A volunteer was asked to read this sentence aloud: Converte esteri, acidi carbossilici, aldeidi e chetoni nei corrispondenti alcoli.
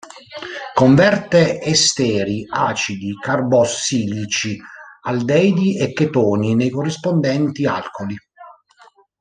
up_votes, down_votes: 1, 2